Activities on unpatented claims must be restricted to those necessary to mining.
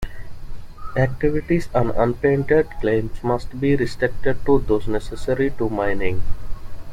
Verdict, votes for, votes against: accepted, 2, 1